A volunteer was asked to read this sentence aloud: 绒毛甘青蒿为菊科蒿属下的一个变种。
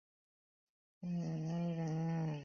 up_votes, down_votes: 0, 2